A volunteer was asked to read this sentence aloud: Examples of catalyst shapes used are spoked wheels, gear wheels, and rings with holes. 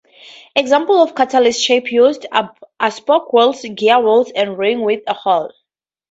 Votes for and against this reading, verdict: 0, 2, rejected